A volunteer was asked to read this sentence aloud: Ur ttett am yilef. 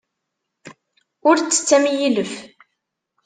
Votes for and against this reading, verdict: 2, 0, accepted